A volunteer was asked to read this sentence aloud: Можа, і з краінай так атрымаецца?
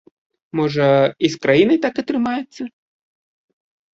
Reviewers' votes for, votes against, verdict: 2, 0, accepted